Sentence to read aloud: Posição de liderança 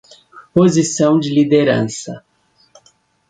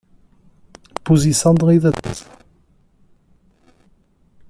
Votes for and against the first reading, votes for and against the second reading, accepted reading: 2, 0, 0, 2, first